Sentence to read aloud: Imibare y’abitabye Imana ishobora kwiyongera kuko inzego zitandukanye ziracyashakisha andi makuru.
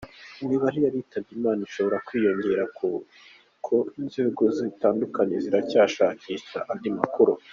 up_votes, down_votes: 0, 2